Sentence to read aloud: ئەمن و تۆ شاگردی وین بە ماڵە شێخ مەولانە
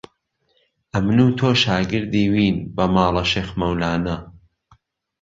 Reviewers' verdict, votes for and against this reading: accepted, 2, 0